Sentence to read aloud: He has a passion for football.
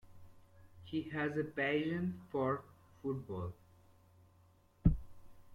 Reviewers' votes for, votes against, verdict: 1, 2, rejected